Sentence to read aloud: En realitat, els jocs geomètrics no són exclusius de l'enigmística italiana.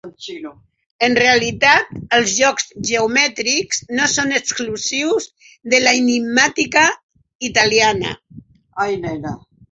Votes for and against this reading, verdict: 0, 4, rejected